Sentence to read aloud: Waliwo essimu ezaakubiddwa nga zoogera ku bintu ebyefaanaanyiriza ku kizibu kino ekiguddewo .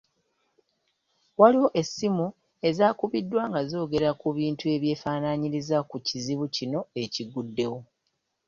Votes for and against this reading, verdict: 2, 0, accepted